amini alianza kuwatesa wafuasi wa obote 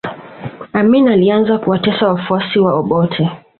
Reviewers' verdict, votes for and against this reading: accepted, 2, 0